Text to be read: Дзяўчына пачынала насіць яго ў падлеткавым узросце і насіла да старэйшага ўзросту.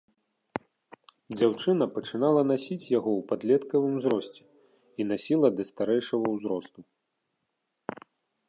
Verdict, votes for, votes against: accepted, 3, 0